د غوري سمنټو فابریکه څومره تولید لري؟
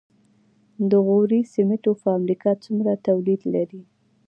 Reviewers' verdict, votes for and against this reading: rejected, 1, 2